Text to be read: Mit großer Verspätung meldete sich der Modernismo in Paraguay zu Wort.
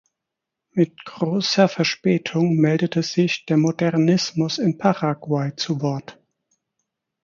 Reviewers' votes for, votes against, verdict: 0, 4, rejected